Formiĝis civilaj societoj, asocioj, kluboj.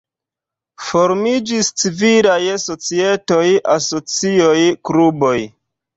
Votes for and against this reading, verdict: 2, 0, accepted